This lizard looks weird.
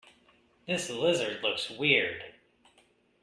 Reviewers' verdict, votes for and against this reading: rejected, 1, 2